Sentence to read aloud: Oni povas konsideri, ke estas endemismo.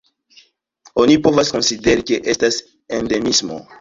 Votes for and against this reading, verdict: 2, 0, accepted